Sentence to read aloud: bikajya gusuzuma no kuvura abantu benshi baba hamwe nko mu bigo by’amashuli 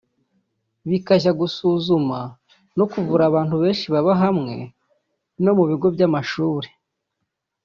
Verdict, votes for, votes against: rejected, 0, 2